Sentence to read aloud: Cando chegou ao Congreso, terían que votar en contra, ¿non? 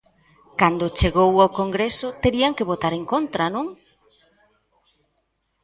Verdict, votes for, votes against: accepted, 2, 1